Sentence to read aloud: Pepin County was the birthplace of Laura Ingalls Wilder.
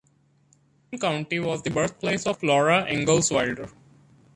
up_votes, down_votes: 1, 2